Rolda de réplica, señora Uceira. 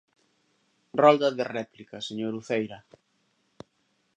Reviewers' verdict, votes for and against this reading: accepted, 2, 0